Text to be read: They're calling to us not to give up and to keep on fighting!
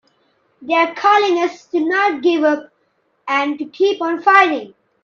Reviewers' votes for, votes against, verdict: 1, 2, rejected